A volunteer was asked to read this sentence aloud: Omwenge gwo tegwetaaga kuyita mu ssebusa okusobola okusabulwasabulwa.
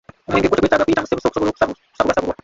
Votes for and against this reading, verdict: 0, 3, rejected